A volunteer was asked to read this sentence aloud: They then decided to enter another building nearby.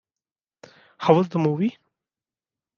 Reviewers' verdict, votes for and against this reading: rejected, 0, 2